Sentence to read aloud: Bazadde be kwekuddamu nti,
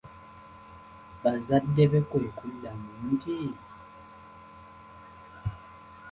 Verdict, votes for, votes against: accepted, 2, 0